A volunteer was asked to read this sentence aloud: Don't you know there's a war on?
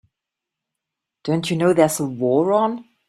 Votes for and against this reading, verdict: 2, 0, accepted